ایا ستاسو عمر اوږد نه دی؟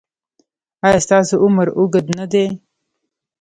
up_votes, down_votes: 0, 2